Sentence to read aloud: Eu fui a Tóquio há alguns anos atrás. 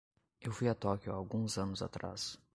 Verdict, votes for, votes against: accepted, 2, 0